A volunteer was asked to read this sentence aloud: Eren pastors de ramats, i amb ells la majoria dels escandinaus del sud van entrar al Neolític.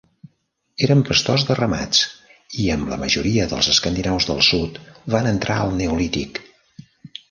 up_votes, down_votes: 0, 2